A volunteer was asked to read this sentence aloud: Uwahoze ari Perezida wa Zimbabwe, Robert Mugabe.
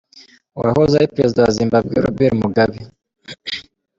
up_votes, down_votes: 2, 0